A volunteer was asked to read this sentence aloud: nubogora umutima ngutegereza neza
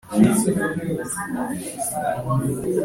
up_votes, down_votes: 1, 2